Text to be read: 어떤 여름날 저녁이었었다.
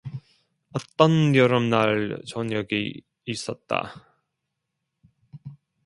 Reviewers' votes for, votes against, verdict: 1, 2, rejected